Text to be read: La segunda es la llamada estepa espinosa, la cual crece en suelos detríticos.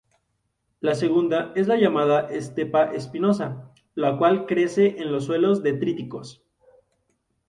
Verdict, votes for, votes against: accepted, 2, 0